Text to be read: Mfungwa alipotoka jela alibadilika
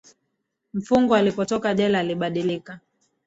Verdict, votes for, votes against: rejected, 0, 3